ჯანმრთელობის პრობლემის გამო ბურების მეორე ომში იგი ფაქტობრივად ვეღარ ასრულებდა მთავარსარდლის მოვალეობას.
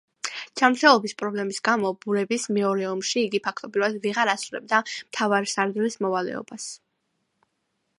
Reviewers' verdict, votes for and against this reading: accepted, 2, 0